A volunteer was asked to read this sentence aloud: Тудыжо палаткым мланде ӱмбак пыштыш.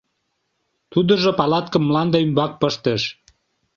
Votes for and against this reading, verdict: 2, 0, accepted